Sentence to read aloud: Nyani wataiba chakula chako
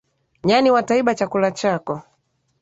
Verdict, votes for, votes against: accepted, 6, 0